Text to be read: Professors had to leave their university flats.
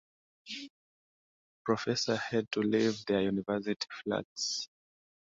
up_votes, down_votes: 0, 2